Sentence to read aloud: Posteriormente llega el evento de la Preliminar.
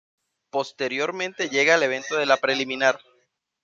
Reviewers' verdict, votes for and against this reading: accepted, 2, 0